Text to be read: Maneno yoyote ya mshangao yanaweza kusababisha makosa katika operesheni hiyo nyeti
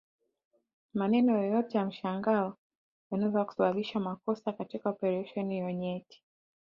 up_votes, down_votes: 2, 1